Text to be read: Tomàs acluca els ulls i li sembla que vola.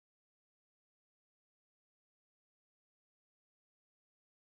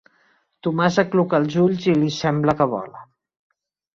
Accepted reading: second